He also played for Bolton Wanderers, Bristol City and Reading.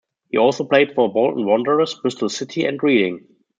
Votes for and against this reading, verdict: 1, 2, rejected